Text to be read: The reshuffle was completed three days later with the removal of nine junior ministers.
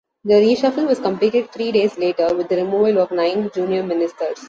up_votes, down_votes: 2, 0